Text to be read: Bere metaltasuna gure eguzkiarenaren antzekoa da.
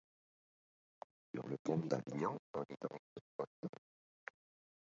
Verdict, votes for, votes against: rejected, 0, 3